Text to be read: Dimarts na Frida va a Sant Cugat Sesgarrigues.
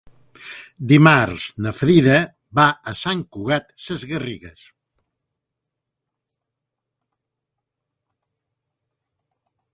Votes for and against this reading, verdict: 2, 0, accepted